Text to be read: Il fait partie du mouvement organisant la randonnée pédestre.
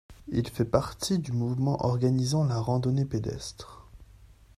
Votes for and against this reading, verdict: 2, 0, accepted